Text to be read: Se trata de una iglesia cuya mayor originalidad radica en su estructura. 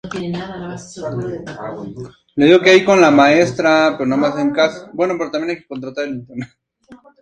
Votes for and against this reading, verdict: 2, 0, accepted